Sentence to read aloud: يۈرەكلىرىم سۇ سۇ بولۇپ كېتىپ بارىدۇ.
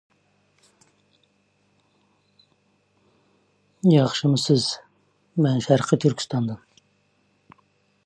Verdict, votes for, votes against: rejected, 0, 2